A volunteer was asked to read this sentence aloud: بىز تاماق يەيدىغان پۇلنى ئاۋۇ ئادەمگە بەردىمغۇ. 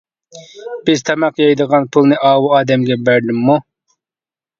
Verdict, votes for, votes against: rejected, 1, 2